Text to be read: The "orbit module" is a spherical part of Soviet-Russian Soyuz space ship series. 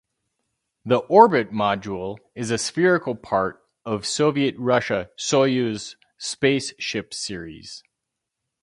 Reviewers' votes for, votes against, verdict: 2, 2, rejected